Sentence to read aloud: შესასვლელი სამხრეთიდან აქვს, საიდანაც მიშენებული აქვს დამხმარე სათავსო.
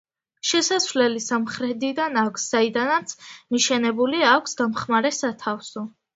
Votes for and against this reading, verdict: 2, 0, accepted